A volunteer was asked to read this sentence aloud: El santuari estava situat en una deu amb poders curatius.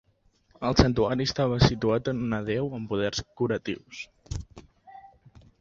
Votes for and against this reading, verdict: 3, 0, accepted